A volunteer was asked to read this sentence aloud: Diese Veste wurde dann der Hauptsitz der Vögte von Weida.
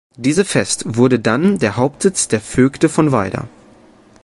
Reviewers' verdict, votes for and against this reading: rejected, 1, 2